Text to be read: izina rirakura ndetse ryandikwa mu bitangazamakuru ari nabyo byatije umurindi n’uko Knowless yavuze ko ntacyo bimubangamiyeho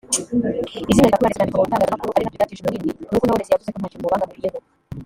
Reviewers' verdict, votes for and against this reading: rejected, 1, 2